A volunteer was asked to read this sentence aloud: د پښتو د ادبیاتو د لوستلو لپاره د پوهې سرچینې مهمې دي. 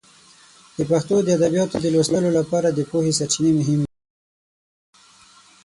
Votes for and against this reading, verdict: 3, 6, rejected